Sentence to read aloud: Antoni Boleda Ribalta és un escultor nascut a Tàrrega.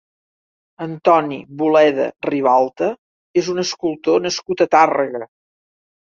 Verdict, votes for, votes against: accepted, 3, 0